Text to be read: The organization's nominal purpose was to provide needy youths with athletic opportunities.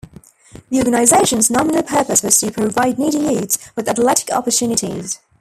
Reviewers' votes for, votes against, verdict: 1, 2, rejected